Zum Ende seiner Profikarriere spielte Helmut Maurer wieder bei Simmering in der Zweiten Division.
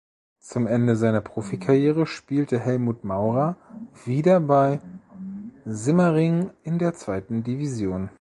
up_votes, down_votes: 2, 0